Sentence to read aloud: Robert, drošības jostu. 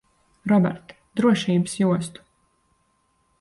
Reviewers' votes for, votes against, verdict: 2, 0, accepted